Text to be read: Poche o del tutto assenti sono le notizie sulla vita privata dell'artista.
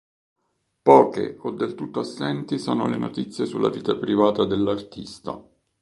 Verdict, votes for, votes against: accepted, 3, 0